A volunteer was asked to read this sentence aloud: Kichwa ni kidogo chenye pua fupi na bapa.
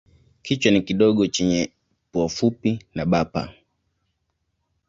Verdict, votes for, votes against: accepted, 2, 0